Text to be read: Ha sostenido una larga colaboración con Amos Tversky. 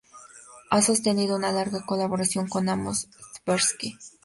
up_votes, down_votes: 2, 0